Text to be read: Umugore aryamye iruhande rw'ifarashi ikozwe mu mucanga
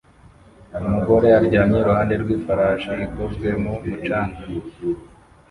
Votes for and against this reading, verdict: 1, 2, rejected